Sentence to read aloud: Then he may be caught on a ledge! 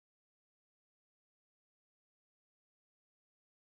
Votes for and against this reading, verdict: 0, 2, rejected